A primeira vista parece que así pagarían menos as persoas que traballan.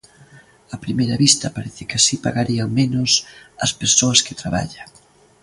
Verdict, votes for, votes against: accepted, 2, 0